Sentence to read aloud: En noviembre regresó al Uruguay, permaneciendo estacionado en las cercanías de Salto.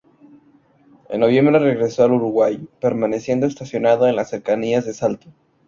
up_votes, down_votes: 0, 2